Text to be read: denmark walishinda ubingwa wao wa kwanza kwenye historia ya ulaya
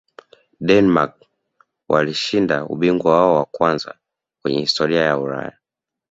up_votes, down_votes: 2, 1